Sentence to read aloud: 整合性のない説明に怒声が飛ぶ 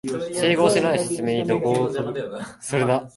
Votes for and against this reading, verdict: 0, 2, rejected